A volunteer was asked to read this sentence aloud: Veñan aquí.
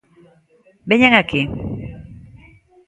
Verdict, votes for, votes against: accepted, 2, 0